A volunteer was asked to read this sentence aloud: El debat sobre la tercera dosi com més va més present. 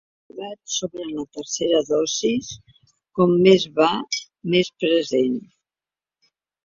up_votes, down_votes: 0, 2